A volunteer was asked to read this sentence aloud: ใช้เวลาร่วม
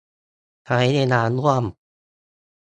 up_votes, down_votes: 2, 0